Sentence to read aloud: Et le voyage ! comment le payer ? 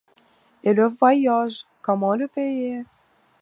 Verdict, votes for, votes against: accepted, 2, 0